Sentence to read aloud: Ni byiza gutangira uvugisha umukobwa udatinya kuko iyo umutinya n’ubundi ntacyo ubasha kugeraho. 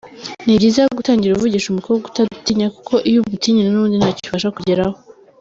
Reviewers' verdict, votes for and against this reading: rejected, 1, 2